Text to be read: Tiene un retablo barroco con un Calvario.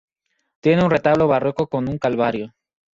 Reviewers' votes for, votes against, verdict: 2, 2, rejected